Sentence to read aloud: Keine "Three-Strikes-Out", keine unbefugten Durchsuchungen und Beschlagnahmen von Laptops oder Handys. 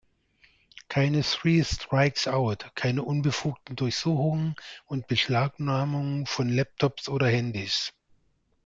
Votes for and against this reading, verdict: 1, 2, rejected